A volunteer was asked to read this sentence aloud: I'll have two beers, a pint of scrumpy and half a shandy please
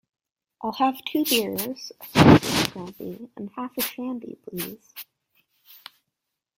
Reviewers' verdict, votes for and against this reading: rejected, 0, 2